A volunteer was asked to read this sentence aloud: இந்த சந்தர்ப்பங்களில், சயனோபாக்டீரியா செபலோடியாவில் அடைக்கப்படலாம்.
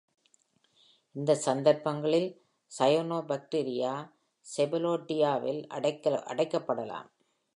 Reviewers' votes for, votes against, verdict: 1, 2, rejected